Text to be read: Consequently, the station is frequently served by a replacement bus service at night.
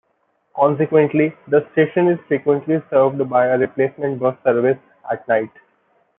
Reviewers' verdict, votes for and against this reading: accepted, 2, 1